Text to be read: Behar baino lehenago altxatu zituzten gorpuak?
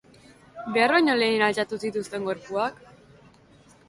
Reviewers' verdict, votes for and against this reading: rejected, 1, 2